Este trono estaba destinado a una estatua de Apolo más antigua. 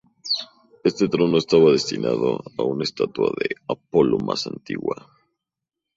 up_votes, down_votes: 0, 2